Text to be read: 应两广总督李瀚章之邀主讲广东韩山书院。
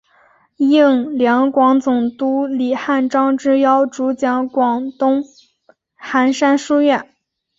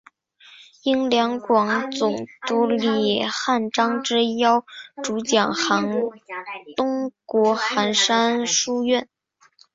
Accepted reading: first